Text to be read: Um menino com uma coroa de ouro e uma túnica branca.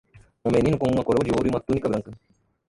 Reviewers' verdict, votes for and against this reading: rejected, 0, 2